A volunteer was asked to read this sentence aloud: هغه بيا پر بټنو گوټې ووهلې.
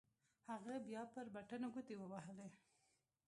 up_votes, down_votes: 0, 2